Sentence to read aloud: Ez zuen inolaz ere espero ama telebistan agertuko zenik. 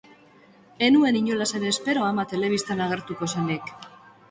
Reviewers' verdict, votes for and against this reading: rejected, 0, 2